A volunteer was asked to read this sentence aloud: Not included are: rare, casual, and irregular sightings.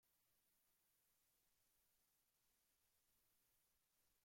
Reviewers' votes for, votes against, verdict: 1, 2, rejected